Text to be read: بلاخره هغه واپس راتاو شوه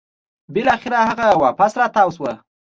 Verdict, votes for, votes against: accepted, 2, 0